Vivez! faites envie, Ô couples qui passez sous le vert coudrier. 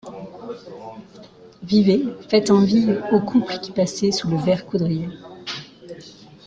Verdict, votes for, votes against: rejected, 2, 3